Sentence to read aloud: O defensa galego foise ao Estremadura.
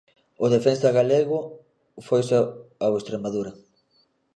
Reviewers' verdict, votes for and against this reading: rejected, 0, 2